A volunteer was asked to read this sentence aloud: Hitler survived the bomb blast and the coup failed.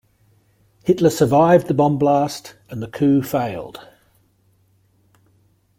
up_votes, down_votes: 2, 0